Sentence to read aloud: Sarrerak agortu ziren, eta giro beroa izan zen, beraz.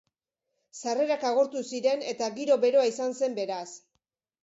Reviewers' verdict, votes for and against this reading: accepted, 4, 0